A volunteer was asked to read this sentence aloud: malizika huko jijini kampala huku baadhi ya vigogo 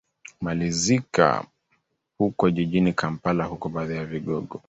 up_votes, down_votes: 3, 1